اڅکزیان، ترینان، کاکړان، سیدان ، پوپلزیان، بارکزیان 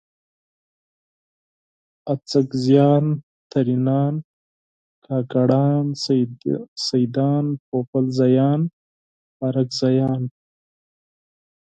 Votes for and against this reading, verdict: 4, 2, accepted